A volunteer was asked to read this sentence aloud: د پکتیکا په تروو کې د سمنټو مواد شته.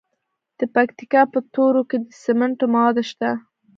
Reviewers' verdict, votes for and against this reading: rejected, 0, 2